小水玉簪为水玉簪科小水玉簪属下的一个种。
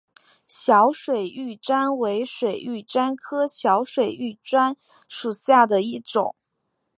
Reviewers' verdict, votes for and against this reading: accepted, 3, 0